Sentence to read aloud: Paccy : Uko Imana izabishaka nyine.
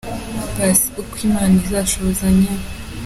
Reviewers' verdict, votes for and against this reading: rejected, 0, 3